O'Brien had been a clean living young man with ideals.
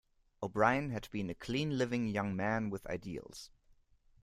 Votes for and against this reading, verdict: 2, 0, accepted